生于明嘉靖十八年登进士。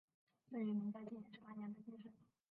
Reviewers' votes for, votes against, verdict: 0, 2, rejected